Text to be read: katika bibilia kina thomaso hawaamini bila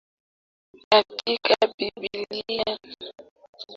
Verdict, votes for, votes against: rejected, 1, 3